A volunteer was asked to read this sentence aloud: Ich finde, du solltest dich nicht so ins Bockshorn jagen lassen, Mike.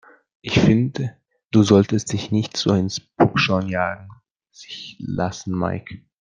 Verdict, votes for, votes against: rejected, 0, 2